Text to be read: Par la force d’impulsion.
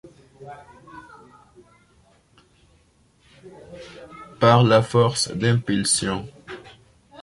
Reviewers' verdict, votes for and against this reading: accepted, 2, 0